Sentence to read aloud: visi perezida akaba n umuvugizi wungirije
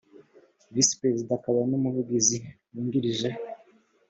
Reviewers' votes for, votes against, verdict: 3, 0, accepted